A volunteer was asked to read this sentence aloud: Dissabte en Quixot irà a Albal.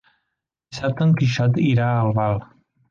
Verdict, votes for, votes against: rejected, 1, 2